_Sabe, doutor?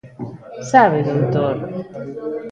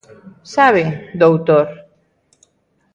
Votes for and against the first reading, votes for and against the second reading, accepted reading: 0, 2, 2, 0, second